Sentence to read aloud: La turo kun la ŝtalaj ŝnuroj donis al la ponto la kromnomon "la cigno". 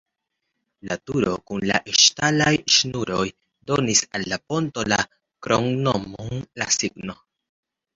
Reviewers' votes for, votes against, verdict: 1, 2, rejected